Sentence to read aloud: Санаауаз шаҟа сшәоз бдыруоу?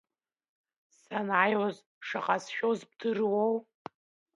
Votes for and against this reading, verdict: 1, 2, rejected